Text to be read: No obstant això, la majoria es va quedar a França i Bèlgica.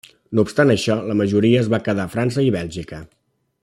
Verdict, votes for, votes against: rejected, 1, 2